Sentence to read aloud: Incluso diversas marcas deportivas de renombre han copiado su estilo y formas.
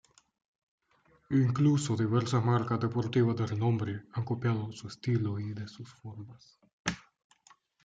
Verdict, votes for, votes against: rejected, 1, 2